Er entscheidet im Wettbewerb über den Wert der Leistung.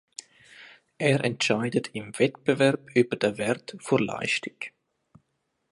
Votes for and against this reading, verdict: 0, 2, rejected